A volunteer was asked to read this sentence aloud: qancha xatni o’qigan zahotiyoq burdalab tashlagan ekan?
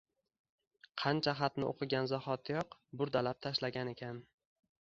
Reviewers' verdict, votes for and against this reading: accepted, 2, 1